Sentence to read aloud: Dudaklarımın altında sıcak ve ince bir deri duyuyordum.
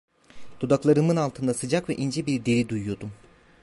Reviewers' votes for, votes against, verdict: 1, 2, rejected